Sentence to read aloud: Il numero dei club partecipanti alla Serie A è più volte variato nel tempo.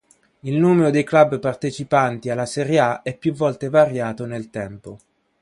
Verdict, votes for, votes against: accepted, 2, 1